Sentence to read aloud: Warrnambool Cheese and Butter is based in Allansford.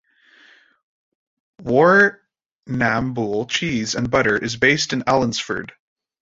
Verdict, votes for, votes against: rejected, 0, 2